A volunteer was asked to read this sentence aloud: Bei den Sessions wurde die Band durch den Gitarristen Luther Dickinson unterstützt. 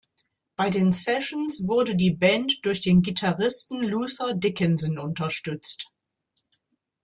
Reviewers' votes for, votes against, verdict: 2, 0, accepted